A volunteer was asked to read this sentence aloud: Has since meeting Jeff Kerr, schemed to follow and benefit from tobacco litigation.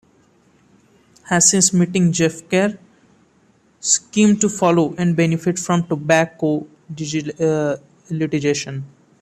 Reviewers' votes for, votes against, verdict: 0, 2, rejected